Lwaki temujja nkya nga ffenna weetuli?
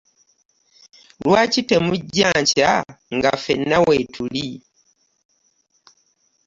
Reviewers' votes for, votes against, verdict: 2, 0, accepted